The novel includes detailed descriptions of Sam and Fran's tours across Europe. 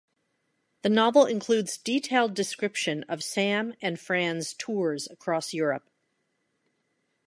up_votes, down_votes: 1, 2